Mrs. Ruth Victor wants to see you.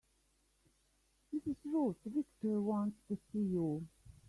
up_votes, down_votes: 3, 0